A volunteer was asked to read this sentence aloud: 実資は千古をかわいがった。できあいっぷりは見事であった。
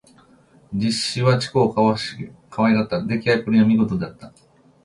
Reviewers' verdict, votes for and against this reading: accepted, 2, 0